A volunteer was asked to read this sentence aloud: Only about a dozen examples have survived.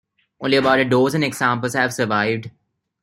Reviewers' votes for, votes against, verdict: 0, 2, rejected